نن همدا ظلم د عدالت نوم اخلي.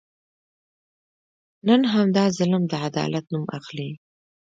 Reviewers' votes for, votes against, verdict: 2, 0, accepted